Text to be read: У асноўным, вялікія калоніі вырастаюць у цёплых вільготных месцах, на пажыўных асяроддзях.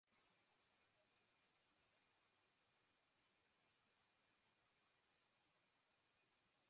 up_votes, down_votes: 0, 2